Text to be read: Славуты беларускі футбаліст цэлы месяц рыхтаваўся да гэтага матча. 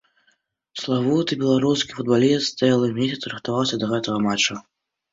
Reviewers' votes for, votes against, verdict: 2, 0, accepted